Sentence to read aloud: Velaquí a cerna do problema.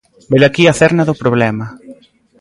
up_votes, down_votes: 2, 0